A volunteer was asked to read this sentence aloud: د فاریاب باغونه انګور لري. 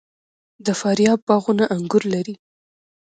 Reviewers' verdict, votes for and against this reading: accepted, 2, 1